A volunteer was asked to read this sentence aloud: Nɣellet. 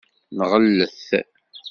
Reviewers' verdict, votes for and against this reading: rejected, 0, 2